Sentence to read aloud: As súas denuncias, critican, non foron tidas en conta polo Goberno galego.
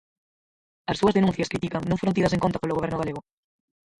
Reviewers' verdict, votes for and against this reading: rejected, 0, 4